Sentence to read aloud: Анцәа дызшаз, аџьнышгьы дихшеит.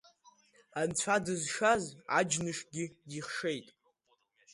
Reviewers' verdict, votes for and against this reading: accepted, 2, 0